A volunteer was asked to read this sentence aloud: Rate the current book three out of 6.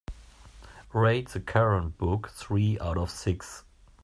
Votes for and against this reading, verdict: 0, 2, rejected